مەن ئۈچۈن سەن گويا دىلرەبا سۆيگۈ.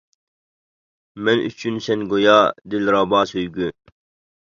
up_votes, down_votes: 2, 0